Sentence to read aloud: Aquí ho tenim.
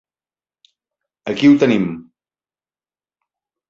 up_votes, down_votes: 4, 0